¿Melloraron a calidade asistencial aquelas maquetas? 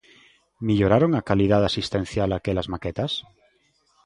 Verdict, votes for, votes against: accepted, 2, 0